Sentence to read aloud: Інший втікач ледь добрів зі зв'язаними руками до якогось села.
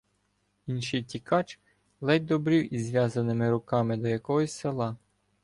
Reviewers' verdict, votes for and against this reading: rejected, 1, 2